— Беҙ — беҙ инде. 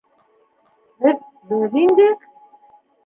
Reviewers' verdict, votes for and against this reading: rejected, 1, 2